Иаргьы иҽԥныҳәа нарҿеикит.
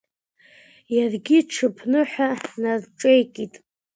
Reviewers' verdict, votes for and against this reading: accepted, 2, 0